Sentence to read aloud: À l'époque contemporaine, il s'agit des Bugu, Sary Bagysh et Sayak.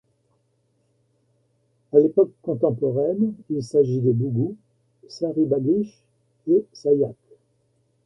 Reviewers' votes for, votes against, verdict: 1, 2, rejected